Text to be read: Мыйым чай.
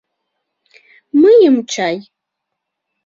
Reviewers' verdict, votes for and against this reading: rejected, 0, 2